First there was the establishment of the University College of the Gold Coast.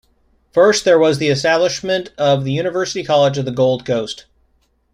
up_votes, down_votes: 2, 0